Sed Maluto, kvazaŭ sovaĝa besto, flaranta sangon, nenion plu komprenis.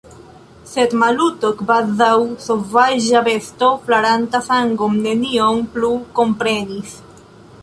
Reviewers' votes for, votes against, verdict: 1, 2, rejected